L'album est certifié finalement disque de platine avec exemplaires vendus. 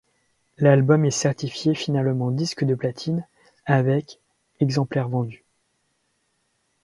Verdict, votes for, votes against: accepted, 2, 0